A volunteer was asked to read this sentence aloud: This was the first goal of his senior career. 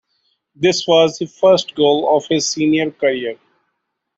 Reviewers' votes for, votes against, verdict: 2, 1, accepted